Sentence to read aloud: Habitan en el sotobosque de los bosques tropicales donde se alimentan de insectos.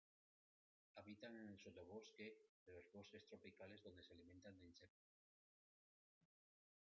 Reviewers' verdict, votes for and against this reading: accepted, 2, 1